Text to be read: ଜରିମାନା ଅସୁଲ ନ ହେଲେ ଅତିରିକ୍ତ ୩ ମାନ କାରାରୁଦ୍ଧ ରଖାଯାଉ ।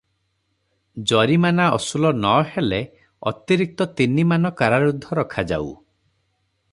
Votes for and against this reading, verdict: 0, 2, rejected